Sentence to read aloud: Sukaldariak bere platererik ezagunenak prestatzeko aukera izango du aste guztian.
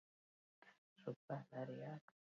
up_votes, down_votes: 0, 4